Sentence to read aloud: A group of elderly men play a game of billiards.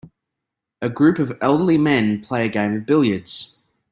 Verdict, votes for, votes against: accepted, 2, 0